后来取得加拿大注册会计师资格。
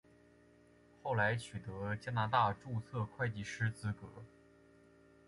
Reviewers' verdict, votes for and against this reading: accepted, 2, 0